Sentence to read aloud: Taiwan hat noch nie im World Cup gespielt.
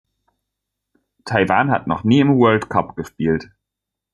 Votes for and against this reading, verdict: 2, 0, accepted